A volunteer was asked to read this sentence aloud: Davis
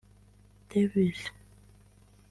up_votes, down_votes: 1, 2